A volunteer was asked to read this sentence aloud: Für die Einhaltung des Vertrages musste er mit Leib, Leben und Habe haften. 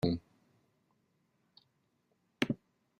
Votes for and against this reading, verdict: 0, 2, rejected